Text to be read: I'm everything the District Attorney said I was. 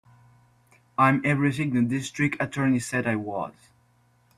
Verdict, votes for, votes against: accepted, 4, 0